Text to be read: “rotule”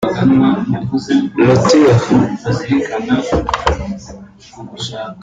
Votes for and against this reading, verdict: 0, 2, rejected